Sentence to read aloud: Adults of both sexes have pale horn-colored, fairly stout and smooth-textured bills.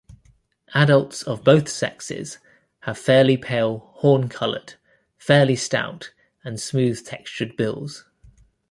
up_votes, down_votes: 0, 2